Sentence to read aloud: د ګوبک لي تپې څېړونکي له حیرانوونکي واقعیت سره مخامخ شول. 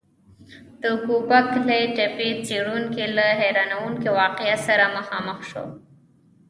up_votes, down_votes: 2, 1